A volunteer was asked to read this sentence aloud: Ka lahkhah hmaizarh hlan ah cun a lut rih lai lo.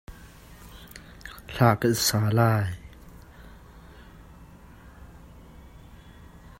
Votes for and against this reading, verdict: 0, 2, rejected